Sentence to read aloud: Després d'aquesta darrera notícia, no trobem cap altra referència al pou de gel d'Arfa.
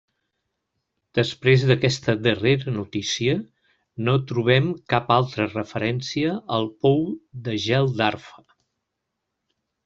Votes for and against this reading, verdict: 3, 0, accepted